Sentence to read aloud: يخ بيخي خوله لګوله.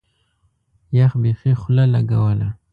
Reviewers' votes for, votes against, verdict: 2, 0, accepted